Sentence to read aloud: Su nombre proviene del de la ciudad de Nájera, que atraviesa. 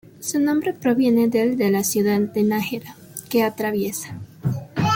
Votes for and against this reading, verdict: 3, 1, accepted